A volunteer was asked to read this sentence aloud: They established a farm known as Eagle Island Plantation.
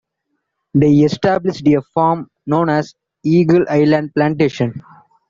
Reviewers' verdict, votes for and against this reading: accepted, 2, 0